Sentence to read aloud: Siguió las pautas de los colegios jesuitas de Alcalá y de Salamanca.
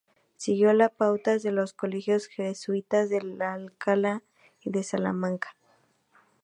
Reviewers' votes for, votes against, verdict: 0, 2, rejected